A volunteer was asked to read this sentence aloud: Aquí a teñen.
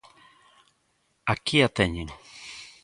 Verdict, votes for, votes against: accepted, 2, 0